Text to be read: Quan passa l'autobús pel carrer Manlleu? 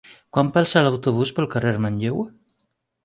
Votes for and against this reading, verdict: 3, 0, accepted